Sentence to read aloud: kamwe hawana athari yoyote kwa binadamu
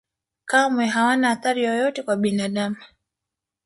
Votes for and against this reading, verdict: 2, 1, accepted